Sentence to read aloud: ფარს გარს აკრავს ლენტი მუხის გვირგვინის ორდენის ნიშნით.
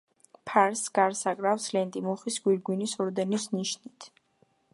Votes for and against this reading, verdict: 2, 0, accepted